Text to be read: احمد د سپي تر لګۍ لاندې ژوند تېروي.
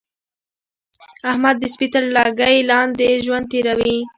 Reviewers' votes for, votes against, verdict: 2, 0, accepted